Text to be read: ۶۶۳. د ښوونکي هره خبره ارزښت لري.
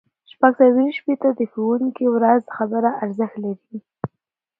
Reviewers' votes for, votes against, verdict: 0, 2, rejected